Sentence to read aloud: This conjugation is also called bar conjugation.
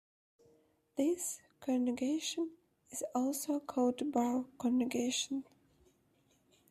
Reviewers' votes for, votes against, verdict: 2, 0, accepted